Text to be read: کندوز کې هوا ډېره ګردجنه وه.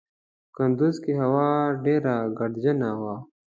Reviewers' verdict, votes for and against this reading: accepted, 2, 0